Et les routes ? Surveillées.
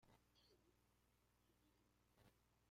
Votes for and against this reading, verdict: 0, 2, rejected